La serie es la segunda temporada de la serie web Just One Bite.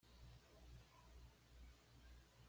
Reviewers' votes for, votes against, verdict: 1, 2, rejected